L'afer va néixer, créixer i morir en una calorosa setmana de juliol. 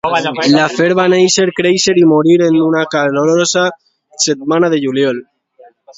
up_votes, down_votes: 2, 0